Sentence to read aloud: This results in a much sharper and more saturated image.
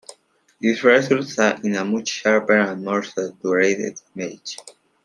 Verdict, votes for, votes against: rejected, 0, 2